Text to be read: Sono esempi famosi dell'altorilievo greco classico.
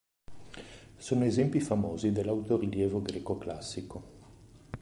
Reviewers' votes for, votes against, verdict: 1, 2, rejected